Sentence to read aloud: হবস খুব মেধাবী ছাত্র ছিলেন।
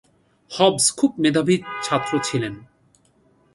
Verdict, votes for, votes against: accepted, 2, 0